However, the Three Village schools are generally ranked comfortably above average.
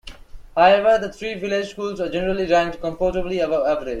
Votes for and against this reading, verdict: 1, 2, rejected